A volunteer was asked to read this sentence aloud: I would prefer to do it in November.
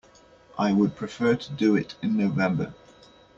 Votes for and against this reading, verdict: 1, 2, rejected